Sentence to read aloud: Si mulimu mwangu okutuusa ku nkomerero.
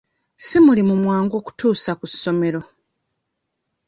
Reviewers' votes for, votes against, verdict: 0, 2, rejected